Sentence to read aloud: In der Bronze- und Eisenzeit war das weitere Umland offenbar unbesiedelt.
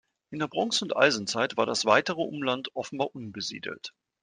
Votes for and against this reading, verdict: 2, 0, accepted